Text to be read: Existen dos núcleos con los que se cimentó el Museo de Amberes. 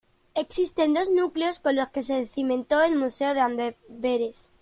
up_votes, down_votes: 0, 2